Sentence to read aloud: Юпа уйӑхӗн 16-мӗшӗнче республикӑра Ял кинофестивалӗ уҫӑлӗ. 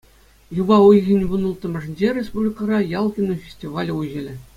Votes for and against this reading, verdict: 0, 2, rejected